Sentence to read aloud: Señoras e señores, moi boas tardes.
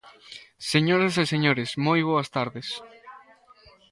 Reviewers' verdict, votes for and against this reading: accepted, 2, 0